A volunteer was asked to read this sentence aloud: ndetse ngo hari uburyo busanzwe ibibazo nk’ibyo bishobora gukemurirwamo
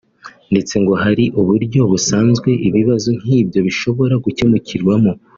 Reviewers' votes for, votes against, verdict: 1, 2, rejected